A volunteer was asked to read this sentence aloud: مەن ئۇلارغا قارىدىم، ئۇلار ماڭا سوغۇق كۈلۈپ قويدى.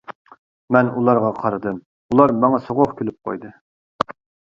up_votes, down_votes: 2, 0